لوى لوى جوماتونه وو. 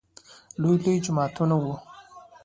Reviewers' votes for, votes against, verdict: 2, 0, accepted